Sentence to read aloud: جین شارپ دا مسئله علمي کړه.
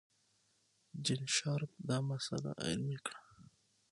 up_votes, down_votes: 6, 0